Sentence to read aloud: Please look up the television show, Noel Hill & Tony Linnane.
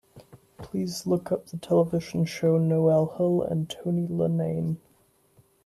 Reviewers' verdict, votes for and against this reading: accepted, 2, 0